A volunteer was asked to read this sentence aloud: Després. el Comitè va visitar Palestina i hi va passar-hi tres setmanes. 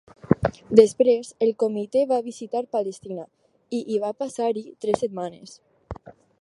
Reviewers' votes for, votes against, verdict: 4, 0, accepted